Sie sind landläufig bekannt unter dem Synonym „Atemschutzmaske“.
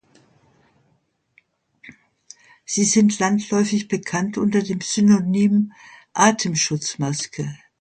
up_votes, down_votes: 2, 0